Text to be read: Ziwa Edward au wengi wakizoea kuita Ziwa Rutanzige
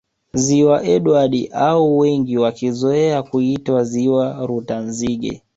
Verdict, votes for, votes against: rejected, 1, 2